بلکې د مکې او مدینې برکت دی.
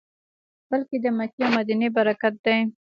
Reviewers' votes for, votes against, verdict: 1, 2, rejected